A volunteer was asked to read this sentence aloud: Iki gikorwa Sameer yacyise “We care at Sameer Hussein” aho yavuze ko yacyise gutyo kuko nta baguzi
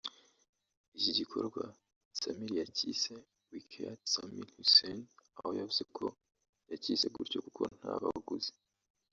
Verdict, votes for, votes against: rejected, 1, 2